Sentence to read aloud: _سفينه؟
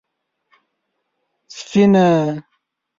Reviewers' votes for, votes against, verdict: 1, 5, rejected